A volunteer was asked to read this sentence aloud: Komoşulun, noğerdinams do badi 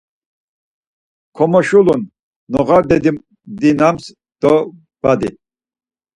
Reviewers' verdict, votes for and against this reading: rejected, 2, 4